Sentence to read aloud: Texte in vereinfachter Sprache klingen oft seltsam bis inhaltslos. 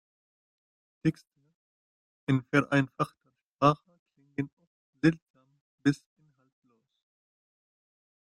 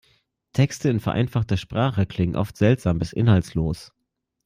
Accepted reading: second